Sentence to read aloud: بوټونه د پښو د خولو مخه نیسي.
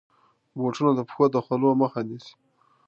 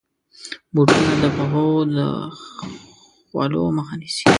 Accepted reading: first